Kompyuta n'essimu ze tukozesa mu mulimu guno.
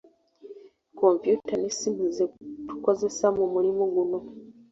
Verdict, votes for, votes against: accepted, 2, 0